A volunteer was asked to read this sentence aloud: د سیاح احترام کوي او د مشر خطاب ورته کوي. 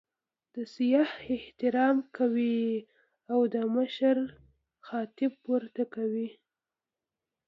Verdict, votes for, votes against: rejected, 0, 2